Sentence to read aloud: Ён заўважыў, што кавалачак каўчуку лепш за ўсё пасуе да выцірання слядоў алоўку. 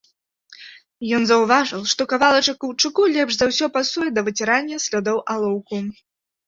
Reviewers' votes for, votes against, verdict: 2, 0, accepted